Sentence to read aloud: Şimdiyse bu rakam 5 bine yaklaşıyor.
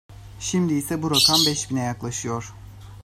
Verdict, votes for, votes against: rejected, 0, 2